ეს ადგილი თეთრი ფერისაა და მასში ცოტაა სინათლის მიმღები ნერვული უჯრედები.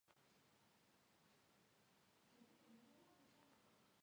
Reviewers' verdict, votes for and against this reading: rejected, 1, 2